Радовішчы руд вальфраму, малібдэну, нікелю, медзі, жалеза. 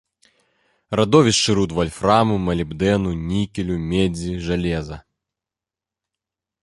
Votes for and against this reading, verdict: 2, 0, accepted